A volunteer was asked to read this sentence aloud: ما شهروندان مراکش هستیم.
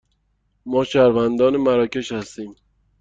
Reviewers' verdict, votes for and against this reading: accepted, 2, 0